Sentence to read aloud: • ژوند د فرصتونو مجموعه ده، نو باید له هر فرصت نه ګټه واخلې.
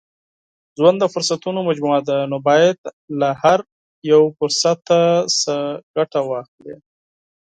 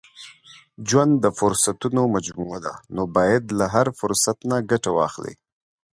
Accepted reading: second